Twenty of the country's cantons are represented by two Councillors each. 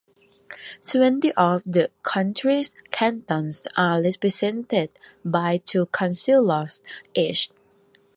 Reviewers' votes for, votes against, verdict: 2, 1, accepted